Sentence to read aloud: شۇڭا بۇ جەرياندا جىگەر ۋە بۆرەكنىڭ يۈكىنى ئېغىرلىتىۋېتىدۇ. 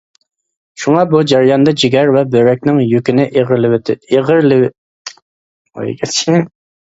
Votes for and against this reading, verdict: 0, 2, rejected